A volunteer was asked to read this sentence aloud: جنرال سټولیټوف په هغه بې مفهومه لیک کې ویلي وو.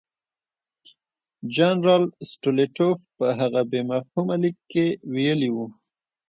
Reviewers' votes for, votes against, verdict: 2, 0, accepted